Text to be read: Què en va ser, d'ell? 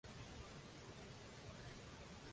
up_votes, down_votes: 0, 2